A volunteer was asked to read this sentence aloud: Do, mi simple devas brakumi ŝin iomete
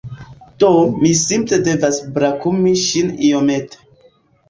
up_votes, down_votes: 2, 1